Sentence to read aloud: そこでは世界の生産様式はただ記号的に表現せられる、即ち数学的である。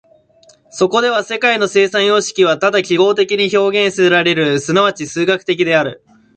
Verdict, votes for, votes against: accepted, 2, 0